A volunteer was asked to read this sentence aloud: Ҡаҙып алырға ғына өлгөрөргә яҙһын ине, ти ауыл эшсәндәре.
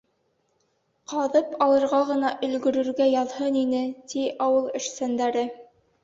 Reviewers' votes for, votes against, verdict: 2, 0, accepted